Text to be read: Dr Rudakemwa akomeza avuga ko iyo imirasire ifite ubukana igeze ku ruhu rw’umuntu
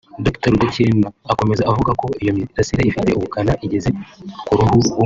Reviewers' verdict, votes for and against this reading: rejected, 0, 2